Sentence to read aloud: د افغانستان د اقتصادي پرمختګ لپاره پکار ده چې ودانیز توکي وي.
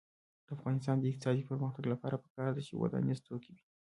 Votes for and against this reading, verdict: 0, 2, rejected